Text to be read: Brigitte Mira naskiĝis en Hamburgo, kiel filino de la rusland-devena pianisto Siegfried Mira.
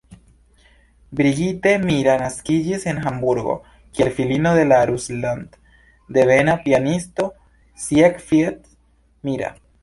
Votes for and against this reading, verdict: 2, 0, accepted